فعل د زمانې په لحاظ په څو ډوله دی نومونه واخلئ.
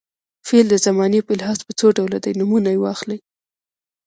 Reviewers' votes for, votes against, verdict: 2, 0, accepted